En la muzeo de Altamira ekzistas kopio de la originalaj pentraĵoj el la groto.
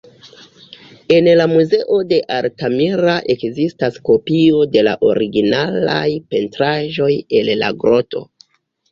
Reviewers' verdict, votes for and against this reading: accepted, 2, 0